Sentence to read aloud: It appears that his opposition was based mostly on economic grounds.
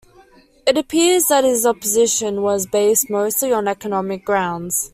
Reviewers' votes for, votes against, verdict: 2, 0, accepted